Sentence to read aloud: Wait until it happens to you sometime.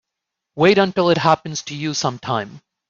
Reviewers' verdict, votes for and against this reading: accepted, 2, 0